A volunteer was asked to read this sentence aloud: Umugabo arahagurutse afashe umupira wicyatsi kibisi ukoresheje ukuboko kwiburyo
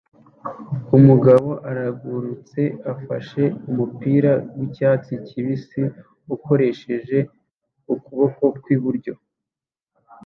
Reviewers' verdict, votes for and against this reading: rejected, 1, 2